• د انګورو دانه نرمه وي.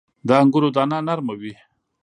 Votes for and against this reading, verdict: 2, 0, accepted